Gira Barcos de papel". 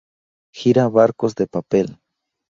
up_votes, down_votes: 2, 0